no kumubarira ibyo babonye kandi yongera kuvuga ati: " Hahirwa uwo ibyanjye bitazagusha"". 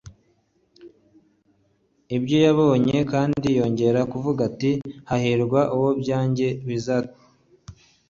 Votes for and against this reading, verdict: 1, 2, rejected